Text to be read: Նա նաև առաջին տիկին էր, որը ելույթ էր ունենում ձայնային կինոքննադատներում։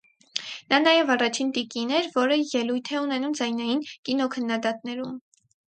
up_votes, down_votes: 2, 4